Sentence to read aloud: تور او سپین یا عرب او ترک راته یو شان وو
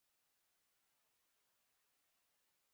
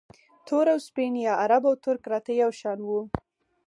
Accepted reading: second